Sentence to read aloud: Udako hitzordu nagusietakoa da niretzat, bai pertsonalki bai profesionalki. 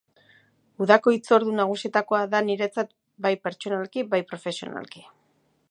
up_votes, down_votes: 2, 0